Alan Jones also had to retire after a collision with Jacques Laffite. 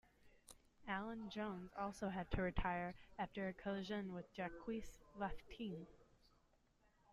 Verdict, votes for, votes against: rejected, 1, 2